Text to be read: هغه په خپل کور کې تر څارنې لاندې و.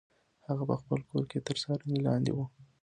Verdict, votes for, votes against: accepted, 2, 1